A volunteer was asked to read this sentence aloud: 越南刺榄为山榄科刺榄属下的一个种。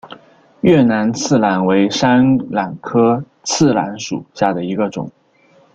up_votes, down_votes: 1, 2